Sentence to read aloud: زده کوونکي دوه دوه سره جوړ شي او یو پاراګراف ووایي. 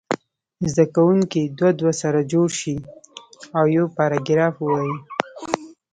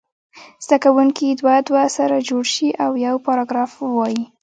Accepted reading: first